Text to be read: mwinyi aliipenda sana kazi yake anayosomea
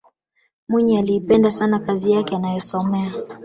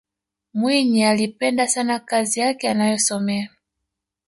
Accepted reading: second